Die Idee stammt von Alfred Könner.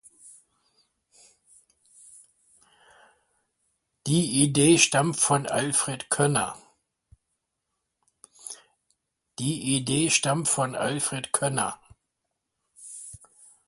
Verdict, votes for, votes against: rejected, 1, 2